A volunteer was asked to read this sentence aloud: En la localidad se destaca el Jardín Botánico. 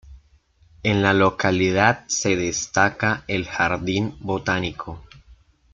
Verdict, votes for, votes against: accepted, 2, 0